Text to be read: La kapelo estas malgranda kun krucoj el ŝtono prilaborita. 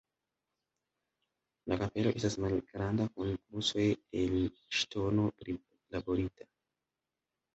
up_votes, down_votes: 0, 2